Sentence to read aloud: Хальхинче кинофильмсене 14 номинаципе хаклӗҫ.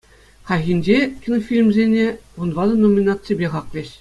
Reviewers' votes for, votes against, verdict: 0, 2, rejected